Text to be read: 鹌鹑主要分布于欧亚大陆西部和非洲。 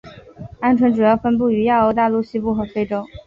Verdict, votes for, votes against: accepted, 2, 0